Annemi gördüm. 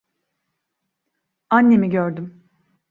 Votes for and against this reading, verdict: 2, 0, accepted